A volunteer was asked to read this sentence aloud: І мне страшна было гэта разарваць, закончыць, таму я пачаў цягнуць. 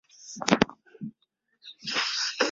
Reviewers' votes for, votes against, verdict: 0, 2, rejected